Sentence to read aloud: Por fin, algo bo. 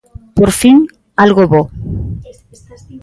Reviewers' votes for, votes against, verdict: 2, 1, accepted